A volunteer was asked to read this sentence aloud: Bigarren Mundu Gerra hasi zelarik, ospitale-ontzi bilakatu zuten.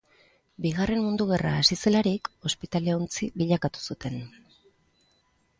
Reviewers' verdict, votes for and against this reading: accepted, 2, 0